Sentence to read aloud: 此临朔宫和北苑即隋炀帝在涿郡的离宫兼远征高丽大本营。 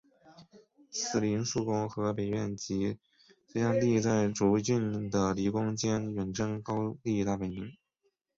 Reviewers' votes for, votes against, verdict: 4, 0, accepted